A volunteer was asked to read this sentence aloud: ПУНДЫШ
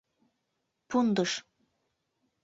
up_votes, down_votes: 2, 0